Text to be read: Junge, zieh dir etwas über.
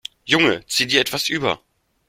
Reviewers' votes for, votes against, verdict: 2, 0, accepted